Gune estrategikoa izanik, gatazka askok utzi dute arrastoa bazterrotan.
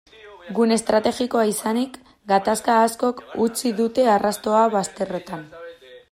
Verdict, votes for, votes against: accepted, 2, 0